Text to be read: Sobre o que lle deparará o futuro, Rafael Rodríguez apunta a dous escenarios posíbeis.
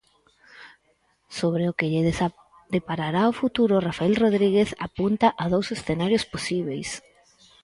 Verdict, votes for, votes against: rejected, 0, 4